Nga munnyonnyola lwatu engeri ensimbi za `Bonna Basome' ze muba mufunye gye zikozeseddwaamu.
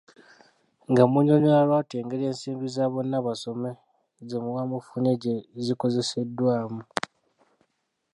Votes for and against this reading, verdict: 0, 2, rejected